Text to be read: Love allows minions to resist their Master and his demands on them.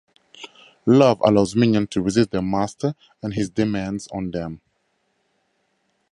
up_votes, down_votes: 2, 0